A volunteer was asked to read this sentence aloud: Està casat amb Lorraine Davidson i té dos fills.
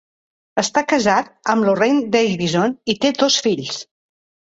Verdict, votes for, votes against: accepted, 3, 0